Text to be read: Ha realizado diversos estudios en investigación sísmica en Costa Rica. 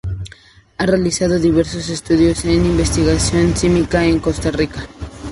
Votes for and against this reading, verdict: 2, 0, accepted